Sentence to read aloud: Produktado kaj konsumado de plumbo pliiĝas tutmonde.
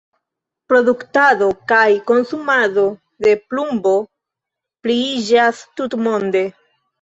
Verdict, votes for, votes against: accepted, 2, 0